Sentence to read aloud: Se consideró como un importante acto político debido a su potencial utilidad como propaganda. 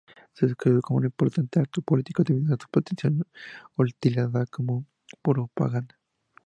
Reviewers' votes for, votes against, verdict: 0, 4, rejected